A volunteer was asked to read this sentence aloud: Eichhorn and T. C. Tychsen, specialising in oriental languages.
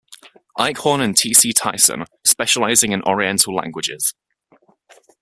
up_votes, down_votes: 2, 0